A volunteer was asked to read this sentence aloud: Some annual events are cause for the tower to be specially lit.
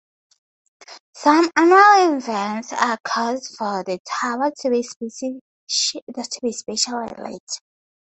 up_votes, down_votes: 2, 2